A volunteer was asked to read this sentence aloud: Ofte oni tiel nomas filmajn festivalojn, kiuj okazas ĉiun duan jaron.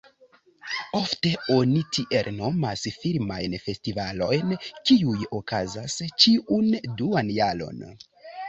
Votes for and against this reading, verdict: 2, 0, accepted